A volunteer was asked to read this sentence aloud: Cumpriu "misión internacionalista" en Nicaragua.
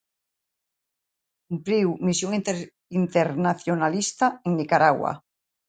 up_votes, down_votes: 1, 2